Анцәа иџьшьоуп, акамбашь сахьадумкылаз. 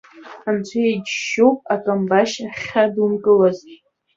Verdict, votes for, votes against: accepted, 2, 0